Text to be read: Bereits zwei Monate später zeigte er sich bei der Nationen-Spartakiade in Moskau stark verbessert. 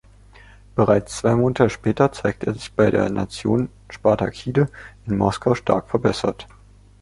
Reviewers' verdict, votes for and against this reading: rejected, 0, 2